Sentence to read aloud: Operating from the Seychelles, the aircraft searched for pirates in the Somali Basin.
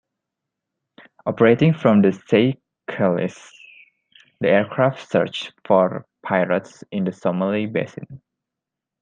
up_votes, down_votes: 0, 2